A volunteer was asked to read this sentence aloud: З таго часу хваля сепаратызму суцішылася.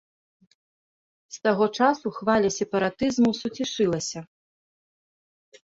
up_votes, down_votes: 1, 2